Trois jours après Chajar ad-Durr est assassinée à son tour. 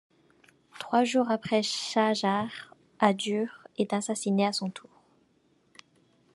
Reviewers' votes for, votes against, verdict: 0, 2, rejected